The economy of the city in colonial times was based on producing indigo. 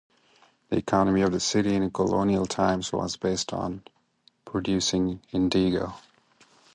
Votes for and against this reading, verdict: 0, 2, rejected